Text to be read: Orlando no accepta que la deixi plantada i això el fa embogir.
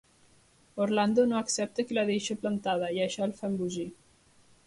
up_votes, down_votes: 2, 0